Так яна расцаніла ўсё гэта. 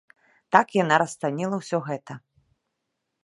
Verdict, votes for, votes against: accepted, 2, 0